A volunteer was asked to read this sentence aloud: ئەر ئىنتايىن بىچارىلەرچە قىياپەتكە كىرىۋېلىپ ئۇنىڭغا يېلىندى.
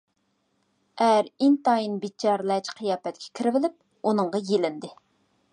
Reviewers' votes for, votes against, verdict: 2, 0, accepted